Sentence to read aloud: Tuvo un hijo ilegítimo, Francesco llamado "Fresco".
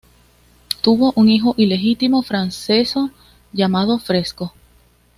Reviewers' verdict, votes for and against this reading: rejected, 0, 2